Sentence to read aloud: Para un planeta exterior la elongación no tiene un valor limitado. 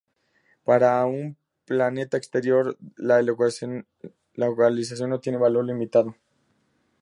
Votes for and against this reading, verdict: 0, 2, rejected